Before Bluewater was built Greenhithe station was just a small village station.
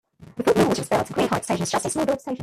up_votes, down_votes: 0, 2